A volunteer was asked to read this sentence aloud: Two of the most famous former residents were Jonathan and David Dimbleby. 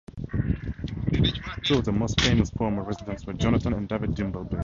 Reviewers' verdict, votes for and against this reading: rejected, 2, 2